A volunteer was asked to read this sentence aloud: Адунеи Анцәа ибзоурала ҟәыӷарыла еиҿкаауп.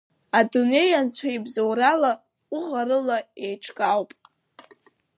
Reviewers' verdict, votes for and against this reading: accepted, 2, 0